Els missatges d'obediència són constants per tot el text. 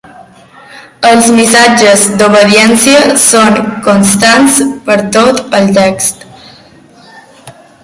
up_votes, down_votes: 2, 1